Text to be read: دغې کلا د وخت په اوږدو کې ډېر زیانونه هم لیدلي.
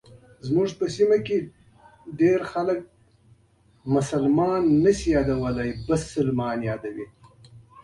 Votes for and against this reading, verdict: 0, 2, rejected